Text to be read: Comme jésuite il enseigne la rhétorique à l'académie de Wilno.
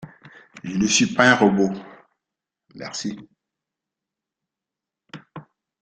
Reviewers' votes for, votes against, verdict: 0, 2, rejected